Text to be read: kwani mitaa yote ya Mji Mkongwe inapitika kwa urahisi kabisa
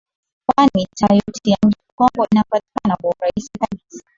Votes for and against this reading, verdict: 0, 2, rejected